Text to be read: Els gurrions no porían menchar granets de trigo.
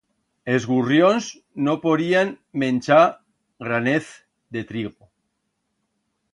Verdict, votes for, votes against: rejected, 1, 2